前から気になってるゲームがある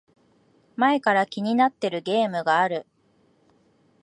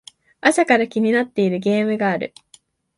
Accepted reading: first